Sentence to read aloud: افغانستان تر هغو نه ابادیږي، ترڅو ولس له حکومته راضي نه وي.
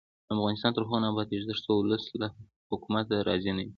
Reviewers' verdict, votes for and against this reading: accepted, 2, 0